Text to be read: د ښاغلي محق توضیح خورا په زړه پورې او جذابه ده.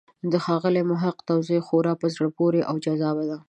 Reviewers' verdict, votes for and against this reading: accepted, 3, 0